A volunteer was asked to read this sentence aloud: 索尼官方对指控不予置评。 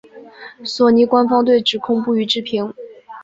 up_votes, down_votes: 2, 0